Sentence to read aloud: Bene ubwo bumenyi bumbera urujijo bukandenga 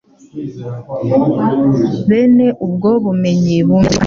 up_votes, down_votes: 0, 2